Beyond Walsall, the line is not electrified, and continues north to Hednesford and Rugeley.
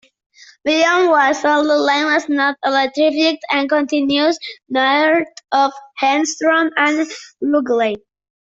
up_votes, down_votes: 0, 2